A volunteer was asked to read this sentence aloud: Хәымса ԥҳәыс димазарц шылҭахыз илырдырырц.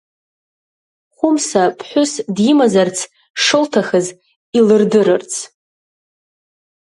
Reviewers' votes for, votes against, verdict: 1, 2, rejected